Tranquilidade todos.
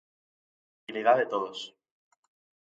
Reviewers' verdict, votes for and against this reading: rejected, 0, 2